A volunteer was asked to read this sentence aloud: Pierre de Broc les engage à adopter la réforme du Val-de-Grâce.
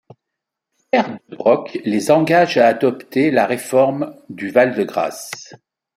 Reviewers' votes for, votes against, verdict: 1, 2, rejected